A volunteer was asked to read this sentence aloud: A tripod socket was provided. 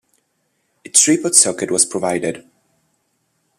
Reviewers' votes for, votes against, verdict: 0, 2, rejected